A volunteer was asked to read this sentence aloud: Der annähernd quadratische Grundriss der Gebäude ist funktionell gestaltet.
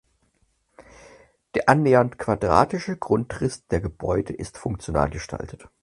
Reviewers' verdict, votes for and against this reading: rejected, 2, 4